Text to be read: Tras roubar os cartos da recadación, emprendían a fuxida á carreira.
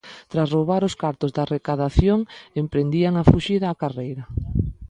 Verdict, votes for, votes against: accepted, 2, 0